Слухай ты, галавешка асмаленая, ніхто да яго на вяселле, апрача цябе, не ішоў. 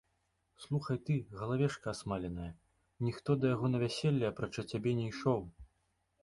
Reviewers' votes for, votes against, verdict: 2, 0, accepted